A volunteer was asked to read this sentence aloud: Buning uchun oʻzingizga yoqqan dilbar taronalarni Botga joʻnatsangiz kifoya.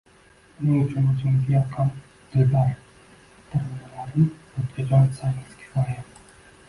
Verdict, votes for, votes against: rejected, 1, 2